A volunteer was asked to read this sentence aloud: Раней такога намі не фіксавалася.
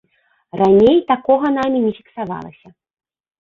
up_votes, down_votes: 1, 2